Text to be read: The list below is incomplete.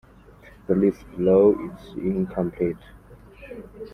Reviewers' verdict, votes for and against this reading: accepted, 2, 0